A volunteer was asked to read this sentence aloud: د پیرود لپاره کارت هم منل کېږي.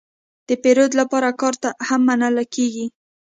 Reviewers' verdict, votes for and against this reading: accepted, 2, 0